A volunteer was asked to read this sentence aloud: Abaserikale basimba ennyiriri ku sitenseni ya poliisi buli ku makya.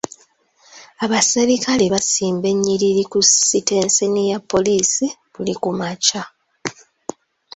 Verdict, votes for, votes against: accepted, 2, 0